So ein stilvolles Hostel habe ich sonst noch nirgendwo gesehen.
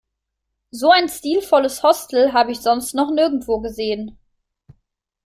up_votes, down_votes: 2, 0